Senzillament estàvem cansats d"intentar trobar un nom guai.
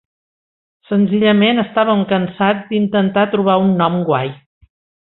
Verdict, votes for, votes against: accepted, 2, 0